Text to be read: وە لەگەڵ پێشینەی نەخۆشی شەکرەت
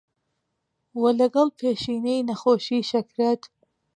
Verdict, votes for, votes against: accepted, 2, 0